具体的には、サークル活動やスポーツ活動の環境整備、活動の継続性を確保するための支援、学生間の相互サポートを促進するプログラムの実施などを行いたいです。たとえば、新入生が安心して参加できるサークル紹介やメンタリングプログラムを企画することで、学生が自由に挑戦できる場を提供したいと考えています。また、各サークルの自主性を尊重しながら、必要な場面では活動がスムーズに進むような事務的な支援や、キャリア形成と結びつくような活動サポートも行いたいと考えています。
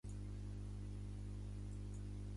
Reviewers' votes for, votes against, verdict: 1, 2, rejected